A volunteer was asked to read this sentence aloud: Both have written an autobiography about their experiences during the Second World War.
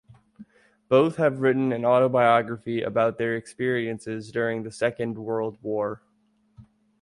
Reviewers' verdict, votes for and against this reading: rejected, 1, 2